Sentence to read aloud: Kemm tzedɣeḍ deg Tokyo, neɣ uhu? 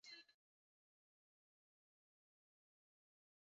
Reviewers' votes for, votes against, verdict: 0, 2, rejected